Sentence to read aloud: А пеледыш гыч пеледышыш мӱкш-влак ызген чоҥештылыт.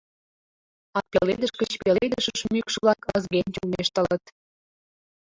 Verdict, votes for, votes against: rejected, 1, 2